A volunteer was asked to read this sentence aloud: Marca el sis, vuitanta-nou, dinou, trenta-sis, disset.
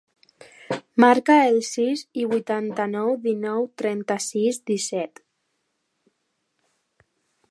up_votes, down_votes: 0, 2